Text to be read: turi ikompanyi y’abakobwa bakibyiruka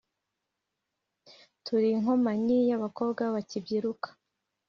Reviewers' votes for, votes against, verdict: 2, 1, accepted